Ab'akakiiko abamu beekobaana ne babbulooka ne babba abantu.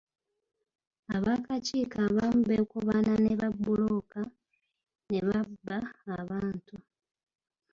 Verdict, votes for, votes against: rejected, 1, 2